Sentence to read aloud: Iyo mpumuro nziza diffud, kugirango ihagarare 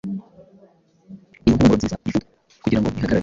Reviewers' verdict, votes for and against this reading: rejected, 1, 2